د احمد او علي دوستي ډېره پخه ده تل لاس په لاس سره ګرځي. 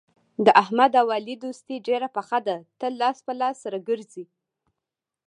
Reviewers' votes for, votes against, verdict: 0, 2, rejected